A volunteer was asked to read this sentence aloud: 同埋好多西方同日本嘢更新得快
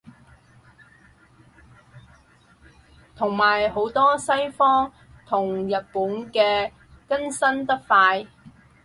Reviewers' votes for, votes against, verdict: 2, 4, rejected